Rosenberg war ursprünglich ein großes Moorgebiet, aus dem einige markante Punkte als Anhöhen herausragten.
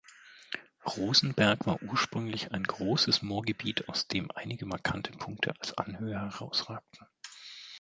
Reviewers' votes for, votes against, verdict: 0, 2, rejected